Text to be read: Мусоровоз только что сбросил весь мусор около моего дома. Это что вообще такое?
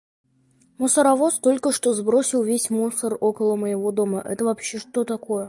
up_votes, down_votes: 0, 2